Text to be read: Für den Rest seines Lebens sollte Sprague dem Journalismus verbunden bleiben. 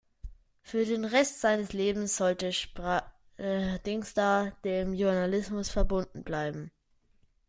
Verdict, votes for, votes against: rejected, 0, 2